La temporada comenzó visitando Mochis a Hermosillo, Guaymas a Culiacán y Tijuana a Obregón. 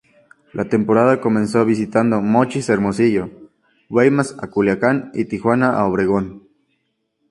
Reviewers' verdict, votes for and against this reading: accepted, 2, 0